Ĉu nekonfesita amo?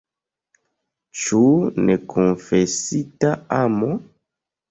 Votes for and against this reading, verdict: 2, 1, accepted